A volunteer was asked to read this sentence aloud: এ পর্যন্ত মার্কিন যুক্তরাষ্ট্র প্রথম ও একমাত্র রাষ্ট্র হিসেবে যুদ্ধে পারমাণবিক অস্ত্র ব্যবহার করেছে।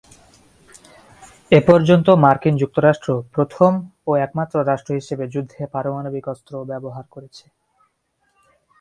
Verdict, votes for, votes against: accepted, 5, 0